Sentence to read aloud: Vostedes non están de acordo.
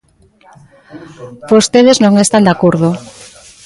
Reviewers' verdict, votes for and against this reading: accepted, 2, 1